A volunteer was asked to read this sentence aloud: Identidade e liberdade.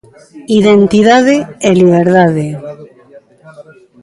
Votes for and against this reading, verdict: 1, 2, rejected